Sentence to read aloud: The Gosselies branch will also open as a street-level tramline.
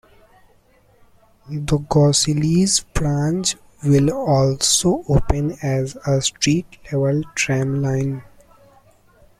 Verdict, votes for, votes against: accepted, 2, 1